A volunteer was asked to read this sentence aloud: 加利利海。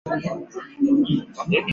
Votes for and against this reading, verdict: 0, 3, rejected